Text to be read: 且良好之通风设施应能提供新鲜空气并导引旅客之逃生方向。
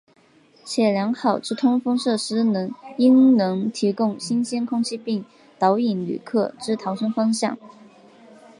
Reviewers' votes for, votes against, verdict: 2, 1, accepted